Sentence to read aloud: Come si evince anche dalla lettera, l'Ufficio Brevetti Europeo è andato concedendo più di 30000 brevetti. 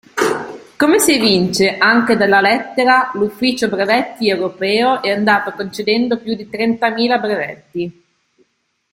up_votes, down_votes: 0, 2